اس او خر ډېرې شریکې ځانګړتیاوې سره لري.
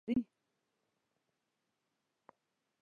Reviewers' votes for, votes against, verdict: 0, 2, rejected